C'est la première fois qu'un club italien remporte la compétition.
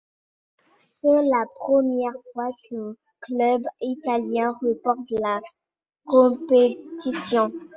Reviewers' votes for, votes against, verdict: 2, 1, accepted